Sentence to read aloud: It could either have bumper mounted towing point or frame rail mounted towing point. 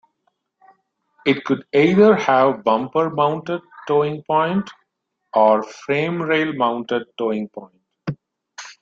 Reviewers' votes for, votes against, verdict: 2, 0, accepted